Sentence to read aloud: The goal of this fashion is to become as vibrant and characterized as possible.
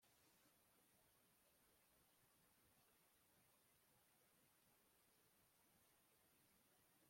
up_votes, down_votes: 0, 2